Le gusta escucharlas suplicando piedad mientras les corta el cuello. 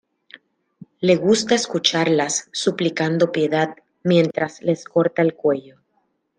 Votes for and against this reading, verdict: 1, 3, rejected